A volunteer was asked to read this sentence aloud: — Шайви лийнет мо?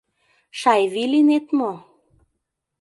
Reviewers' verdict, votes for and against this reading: accepted, 2, 0